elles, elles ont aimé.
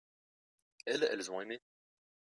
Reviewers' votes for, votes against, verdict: 2, 1, accepted